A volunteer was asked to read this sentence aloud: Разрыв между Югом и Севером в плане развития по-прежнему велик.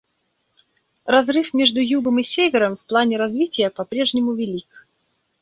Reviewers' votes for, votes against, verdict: 2, 1, accepted